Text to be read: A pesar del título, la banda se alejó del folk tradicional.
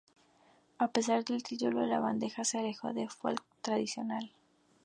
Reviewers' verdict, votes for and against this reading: rejected, 0, 2